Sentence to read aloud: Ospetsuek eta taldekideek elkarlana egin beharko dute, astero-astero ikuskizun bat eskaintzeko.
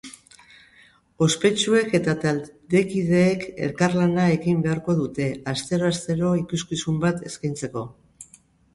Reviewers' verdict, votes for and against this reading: accepted, 3, 0